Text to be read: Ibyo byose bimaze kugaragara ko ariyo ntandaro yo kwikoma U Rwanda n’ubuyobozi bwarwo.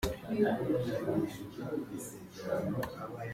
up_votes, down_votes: 0, 2